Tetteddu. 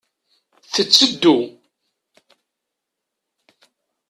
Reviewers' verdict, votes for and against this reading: accepted, 2, 0